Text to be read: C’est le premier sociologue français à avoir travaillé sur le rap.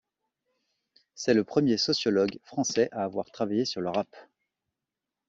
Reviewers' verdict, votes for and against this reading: accepted, 2, 0